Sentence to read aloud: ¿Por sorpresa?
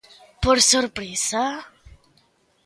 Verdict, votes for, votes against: accepted, 2, 0